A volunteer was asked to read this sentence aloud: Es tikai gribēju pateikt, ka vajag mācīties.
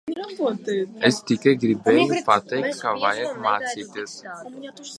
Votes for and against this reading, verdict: 0, 2, rejected